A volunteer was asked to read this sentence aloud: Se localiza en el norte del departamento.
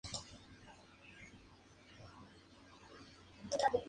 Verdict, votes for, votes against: rejected, 0, 2